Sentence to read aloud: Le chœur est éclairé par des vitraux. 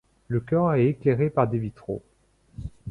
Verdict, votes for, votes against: rejected, 1, 2